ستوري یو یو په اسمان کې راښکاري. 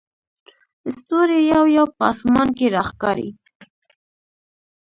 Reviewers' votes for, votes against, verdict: 1, 2, rejected